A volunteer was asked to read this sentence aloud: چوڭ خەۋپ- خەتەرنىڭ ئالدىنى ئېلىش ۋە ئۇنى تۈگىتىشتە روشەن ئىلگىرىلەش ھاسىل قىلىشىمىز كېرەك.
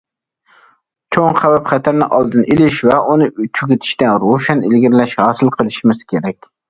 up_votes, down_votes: 1, 2